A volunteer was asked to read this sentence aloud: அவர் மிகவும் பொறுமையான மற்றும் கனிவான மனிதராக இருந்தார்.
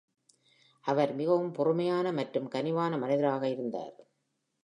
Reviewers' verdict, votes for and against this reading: accepted, 2, 0